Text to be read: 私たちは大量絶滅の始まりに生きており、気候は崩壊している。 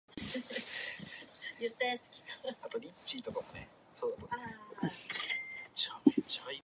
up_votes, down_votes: 1, 2